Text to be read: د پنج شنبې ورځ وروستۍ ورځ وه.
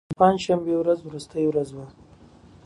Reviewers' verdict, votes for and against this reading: accepted, 2, 0